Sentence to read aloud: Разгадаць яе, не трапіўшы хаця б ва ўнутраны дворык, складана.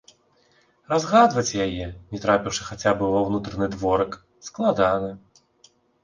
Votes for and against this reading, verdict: 0, 4, rejected